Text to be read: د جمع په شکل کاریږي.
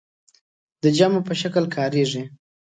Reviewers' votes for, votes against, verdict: 2, 0, accepted